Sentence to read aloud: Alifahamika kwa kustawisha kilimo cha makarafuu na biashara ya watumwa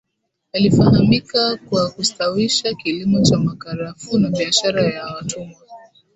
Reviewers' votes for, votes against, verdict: 1, 3, rejected